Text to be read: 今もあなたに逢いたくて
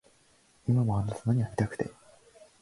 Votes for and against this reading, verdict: 0, 2, rejected